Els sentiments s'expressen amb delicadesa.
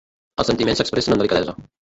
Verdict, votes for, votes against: rejected, 1, 2